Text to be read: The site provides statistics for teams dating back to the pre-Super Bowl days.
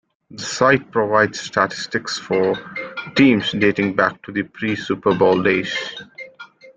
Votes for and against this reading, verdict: 2, 1, accepted